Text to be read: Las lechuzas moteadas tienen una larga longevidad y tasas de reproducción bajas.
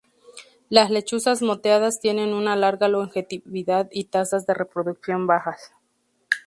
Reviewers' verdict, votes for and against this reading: rejected, 2, 2